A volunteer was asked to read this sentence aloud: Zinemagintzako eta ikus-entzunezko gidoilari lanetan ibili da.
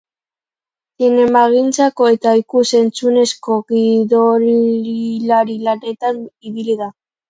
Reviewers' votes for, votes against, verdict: 0, 2, rejected